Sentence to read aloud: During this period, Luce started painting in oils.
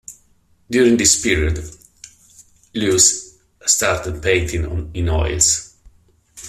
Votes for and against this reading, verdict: 1, 2, rejected